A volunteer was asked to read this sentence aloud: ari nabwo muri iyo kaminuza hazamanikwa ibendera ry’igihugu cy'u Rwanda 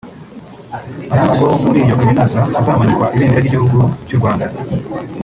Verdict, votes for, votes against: rejected, 0, 2